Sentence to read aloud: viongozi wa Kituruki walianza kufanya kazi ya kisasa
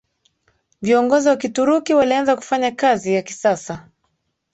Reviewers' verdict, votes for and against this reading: accepted, 2, 0